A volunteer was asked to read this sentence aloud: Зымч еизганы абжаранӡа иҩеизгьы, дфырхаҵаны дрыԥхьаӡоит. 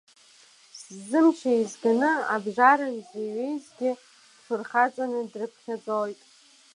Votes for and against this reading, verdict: 1, 2, rejected